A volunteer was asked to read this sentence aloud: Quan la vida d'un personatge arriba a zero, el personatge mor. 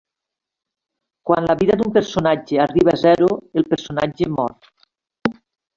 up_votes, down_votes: 2, 0